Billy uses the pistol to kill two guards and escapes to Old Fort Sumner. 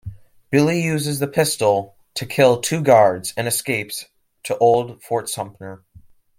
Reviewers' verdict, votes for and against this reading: rejected, 1, 2